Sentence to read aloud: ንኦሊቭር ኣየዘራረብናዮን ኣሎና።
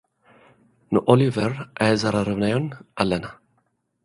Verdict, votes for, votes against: rejected, 0, 2